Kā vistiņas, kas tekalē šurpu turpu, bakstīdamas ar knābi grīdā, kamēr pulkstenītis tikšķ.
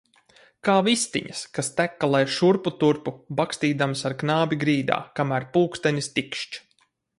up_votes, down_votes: 0, 4